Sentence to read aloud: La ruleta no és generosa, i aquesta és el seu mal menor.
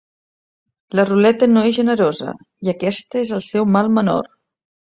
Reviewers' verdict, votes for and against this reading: accepted, 2, 0